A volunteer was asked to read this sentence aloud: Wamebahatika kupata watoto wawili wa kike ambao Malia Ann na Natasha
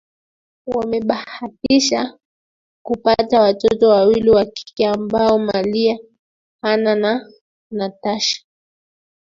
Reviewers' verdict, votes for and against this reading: rejected, 0, 2